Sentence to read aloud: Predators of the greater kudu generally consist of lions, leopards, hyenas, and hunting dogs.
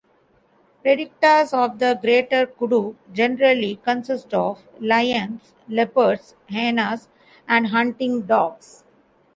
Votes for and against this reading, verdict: 1, 2, rejected